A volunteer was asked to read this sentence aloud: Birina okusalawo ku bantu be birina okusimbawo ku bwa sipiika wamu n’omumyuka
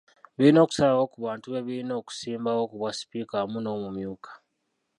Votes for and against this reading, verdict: 0, 2, rejected